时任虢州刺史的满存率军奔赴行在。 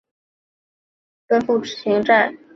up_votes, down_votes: 2, 1